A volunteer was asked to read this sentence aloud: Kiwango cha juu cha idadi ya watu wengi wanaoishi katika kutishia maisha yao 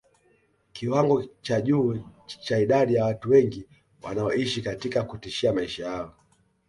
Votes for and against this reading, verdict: 2, 0, accepted